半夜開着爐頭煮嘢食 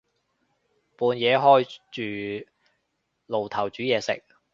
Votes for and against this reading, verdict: 1, 2, rejected